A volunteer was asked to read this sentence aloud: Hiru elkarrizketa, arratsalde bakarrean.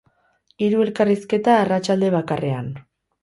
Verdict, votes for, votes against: accepted, 8, 0